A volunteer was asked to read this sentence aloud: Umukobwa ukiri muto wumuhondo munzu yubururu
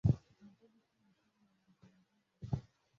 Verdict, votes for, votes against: rejected, 0, 2